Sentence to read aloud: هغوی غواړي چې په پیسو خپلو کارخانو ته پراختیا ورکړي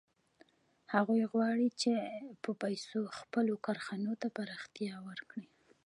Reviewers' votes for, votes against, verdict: 2, 0, accepted